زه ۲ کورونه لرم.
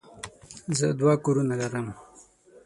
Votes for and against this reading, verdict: 0, 2, rejected